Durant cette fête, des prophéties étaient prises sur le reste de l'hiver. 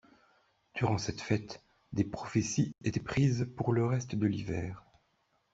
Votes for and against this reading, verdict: 0, 2, rejected